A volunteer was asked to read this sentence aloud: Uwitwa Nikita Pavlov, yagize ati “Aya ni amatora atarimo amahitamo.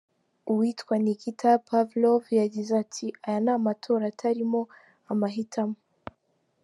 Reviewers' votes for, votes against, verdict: 2, 0, accepted